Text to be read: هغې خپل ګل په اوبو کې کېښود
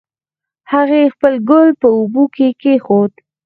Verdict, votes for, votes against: accepted, 4, 2